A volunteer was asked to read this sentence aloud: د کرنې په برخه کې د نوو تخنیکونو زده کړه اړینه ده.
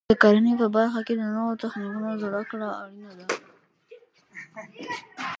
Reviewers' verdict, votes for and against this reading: rejected, 1, 2